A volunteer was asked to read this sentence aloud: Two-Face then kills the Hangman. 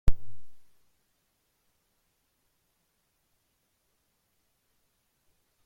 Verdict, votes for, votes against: rejected, 0, 2